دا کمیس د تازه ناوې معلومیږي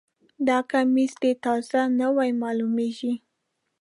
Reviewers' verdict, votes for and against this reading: rejected, 0, 2